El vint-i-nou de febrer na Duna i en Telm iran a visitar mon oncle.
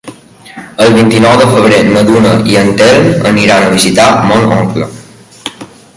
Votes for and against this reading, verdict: 0, 2, rejected